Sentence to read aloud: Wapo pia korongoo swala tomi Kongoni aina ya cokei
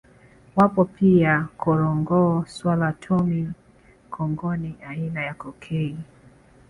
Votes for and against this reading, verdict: 1, 2, rejected